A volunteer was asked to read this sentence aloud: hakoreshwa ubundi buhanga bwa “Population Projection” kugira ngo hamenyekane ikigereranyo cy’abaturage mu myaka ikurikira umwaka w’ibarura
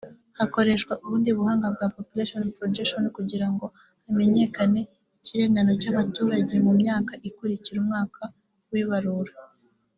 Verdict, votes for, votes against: rejected, 0, 2